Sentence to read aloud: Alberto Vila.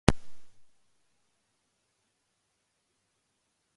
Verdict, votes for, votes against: rejected, 0, 3